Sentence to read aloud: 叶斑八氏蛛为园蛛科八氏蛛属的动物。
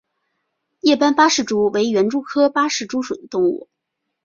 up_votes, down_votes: 7, 1